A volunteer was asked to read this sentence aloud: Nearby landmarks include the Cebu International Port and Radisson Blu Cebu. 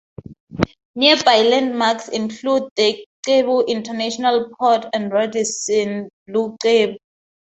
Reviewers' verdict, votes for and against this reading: rejected, 0, 2